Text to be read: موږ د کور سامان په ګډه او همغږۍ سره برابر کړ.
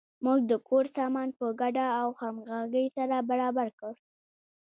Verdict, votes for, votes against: accepted, 2, 0